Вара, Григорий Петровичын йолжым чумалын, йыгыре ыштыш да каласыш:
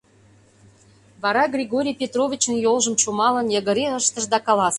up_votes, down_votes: 2, 1